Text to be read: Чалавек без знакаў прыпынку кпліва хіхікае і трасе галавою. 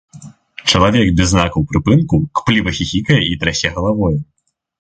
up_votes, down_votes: 1, 2